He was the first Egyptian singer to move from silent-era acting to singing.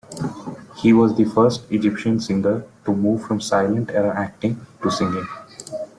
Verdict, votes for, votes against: accepted, 2, 0